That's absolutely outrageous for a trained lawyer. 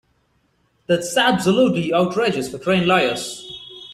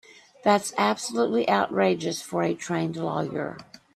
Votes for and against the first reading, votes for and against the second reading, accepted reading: 0, 2, 2, 0, second